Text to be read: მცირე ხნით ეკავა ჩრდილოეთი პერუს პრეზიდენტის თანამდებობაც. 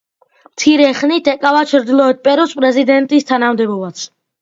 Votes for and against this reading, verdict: 2, 0, accepted